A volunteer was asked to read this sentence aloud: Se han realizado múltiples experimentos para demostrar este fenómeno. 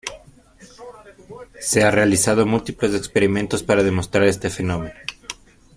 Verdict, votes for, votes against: rejected, 1, 2